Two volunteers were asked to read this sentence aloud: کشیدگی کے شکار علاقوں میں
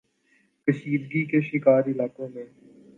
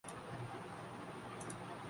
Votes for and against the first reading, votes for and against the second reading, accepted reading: 3, 0, 2, 4, first